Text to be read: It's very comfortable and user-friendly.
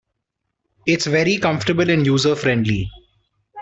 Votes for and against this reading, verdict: 2, 0, accepted